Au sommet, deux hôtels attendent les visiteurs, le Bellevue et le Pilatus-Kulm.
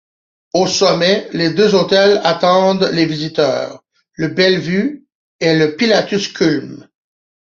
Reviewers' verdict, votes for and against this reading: rejected, 0, 2